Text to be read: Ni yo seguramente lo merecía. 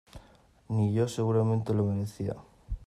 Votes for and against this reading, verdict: 2, 0, accepted